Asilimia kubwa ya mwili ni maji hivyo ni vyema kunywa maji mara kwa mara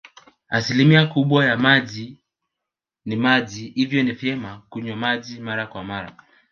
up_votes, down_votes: 2, 3